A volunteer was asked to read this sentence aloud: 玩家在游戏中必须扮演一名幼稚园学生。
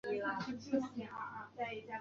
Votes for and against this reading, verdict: 4, 5, rejected